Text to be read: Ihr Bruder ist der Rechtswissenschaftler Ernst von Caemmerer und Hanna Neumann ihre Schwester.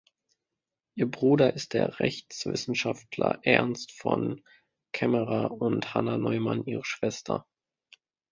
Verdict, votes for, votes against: accepted, 3, 0